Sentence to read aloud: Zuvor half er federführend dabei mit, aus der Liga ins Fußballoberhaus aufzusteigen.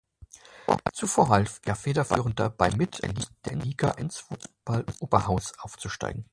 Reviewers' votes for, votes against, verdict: 0, 2, rejected